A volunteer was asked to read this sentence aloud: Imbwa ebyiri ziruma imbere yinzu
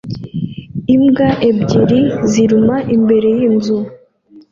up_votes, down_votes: 2, 0